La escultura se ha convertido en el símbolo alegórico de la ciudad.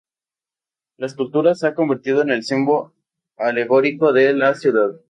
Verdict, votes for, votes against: rejected, 0, 2